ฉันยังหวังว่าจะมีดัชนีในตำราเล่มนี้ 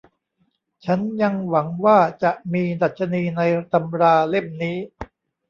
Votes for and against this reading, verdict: 2, 0, accepted